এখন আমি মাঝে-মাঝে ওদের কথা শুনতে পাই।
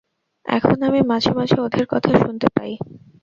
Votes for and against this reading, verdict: 2, 0, accepted